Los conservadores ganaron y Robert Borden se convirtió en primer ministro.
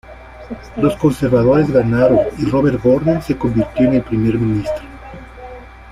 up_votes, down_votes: 0, 2